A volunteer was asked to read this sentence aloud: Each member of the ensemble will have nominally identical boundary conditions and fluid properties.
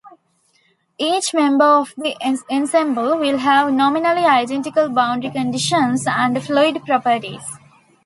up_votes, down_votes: 2, 1